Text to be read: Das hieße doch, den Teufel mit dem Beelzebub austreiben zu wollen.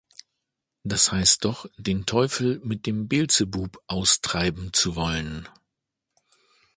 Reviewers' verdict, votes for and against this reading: rejected, 1, 2